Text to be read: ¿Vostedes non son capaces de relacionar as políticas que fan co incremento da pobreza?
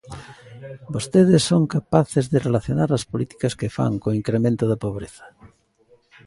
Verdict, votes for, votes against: rejected, 0, 2